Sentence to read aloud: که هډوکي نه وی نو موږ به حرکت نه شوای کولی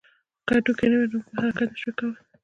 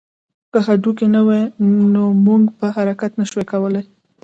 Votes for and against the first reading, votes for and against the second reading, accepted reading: 1, 2, 2, 0, second